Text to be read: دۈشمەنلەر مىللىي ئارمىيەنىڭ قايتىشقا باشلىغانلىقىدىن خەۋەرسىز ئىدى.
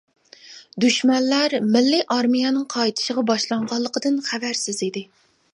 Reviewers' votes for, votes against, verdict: 0, 2, rejected